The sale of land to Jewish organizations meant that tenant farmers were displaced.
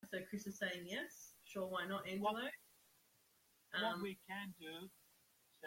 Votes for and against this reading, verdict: 0, 2, rejected